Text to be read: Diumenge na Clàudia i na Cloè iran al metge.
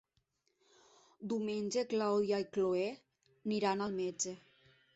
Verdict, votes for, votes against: rejected, 0, 2